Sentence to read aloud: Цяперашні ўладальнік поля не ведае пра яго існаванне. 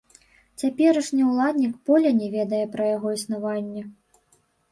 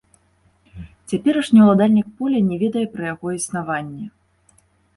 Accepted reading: second